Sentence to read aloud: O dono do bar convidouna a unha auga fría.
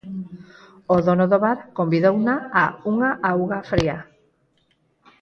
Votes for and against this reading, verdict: 2, 4, rejected